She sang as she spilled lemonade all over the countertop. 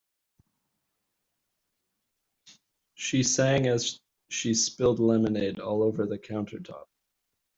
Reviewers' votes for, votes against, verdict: 0, 2, rejected